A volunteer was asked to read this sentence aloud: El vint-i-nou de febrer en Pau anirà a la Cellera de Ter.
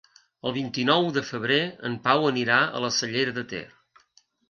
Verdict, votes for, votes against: accepted, 2, 0